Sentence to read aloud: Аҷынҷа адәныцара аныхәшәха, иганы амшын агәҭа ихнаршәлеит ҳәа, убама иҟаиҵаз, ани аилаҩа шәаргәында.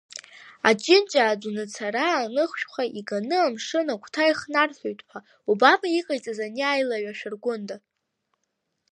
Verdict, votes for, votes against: rejected, 0, 2